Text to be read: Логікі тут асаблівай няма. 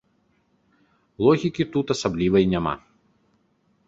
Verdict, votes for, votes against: accepted, 2, 0